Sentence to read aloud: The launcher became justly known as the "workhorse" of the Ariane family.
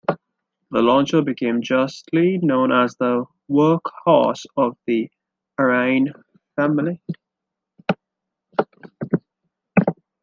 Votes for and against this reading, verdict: 2, 1, accepted